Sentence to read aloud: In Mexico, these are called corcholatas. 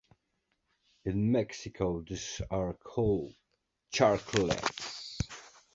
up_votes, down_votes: 0, 2